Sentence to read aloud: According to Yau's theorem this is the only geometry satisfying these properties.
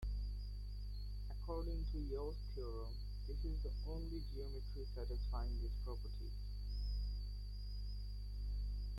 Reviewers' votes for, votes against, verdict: 0, 2, rejected